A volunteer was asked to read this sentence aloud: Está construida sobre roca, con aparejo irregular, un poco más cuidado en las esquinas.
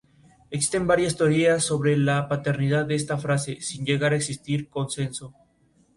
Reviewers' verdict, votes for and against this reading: rejected, 0, 2